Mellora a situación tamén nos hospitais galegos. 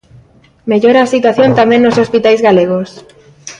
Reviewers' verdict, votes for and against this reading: accepted, 2, 0